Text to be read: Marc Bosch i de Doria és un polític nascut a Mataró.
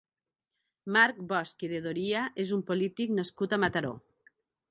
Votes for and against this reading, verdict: 1, 2, rejected